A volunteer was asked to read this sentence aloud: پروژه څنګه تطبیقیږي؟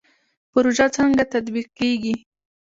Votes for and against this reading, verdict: 1, 2, rejected